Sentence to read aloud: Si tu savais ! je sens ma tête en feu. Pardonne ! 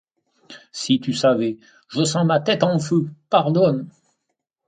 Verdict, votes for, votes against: accepted, 2, 0